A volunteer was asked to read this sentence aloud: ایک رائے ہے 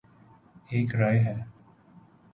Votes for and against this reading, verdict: 4, 0, accepted